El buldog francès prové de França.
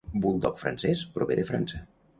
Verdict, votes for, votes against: rejected, 0, 2